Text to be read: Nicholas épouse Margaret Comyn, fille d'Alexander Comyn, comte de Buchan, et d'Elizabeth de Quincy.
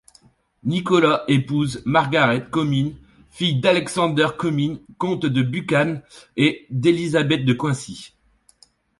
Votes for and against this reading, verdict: 0, 2, rejected